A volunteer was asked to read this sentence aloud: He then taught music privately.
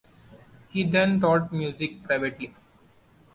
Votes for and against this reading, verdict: 2, 1, accepted